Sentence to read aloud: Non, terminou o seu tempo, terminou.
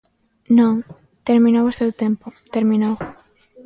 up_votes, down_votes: 2, 0